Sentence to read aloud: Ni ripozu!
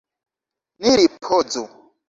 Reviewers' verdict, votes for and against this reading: rejected, 0, 2